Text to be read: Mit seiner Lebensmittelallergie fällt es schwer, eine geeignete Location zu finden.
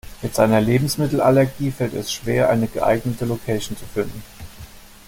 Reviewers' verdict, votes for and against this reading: accepted, 2, 0